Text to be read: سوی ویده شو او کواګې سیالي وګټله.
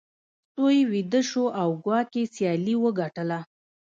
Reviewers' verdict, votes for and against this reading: rejected, 1, 2